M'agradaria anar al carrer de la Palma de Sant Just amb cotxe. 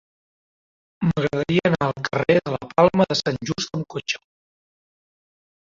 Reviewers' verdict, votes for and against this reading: accepted, 3, 0